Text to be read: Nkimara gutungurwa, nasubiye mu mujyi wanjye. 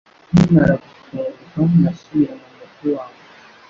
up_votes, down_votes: 0, 2